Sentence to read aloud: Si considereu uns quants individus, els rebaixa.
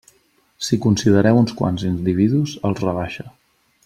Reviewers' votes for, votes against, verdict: 4, 0, accepted